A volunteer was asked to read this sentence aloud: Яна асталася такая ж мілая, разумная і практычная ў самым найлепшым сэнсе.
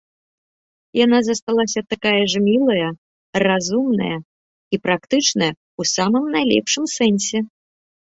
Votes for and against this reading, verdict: 0, 2, rejected